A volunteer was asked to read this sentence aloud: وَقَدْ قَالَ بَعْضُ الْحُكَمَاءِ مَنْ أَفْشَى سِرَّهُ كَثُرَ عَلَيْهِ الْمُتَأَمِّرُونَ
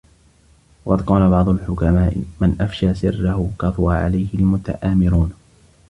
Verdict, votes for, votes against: rejected, 1, 2